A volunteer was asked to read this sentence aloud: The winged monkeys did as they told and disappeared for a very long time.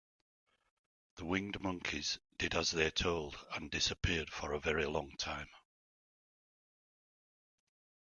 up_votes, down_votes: 2, 1